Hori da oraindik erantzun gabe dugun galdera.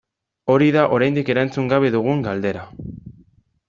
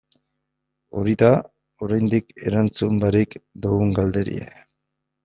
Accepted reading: first